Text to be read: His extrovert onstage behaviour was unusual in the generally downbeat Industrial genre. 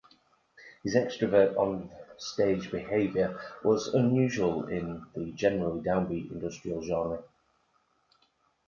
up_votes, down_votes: 1, 2